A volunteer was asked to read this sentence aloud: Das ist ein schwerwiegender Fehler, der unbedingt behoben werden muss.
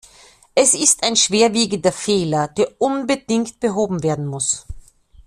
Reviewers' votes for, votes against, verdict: 0, 2, rejected